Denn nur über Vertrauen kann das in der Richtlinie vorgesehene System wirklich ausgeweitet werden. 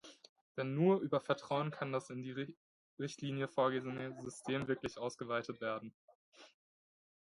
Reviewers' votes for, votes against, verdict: 0, 2, rejected